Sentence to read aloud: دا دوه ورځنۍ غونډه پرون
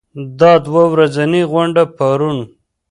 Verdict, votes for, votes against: accepted, 2, 0